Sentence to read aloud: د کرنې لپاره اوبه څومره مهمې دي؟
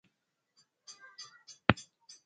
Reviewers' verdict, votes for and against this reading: rejected, 1, 2